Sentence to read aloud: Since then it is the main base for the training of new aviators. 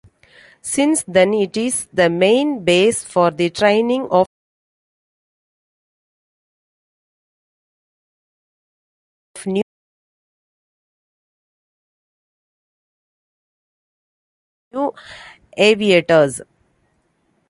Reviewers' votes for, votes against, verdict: 0, 2, rejected